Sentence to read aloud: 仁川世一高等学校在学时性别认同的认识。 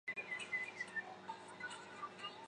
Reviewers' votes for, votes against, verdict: 0, 2, rejected